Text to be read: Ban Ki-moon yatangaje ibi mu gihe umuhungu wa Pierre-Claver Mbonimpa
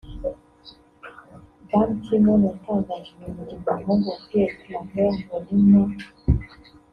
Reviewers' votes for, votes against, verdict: 1, 2, rejected